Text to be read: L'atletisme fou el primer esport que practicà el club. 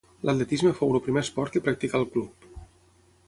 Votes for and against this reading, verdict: 0, 6, rejected